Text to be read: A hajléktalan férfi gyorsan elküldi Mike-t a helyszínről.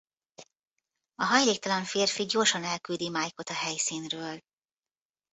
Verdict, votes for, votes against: rejected, 1, 2